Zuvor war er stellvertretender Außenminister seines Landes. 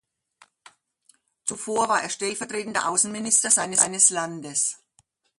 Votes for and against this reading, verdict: 2, 1, accepted